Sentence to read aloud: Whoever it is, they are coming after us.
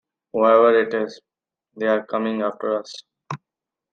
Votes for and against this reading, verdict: 2, 0, accepted